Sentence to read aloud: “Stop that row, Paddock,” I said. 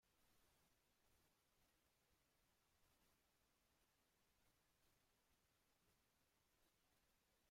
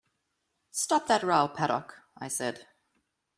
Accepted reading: second